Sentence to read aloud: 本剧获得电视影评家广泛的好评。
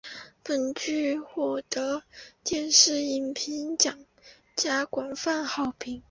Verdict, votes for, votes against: rejected, 1, 2